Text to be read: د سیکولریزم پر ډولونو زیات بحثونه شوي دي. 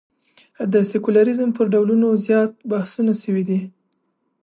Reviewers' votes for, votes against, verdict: 3, 1, accepted